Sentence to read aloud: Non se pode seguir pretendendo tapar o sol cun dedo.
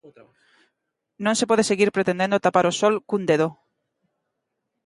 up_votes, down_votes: 2, 0